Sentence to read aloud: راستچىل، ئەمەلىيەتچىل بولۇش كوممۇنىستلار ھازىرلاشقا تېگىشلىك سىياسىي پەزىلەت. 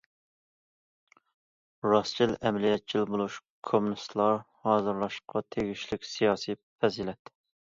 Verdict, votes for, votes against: accepted, 2, 0